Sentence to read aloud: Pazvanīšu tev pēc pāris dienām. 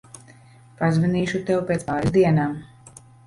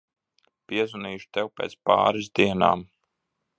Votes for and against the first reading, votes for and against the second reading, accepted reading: 2, 0, 1, 2, first